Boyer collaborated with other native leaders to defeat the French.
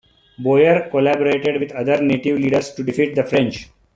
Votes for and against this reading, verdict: 2, 0, accepted